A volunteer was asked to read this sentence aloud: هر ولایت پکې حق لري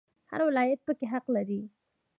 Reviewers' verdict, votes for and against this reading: rejected, 0, 2